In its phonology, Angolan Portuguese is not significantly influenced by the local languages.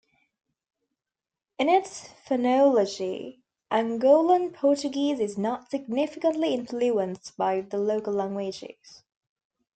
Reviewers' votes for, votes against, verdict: 2, 0, accepted